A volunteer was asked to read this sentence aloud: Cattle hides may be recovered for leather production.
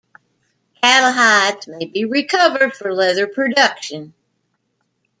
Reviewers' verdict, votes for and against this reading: accepted, 2, 0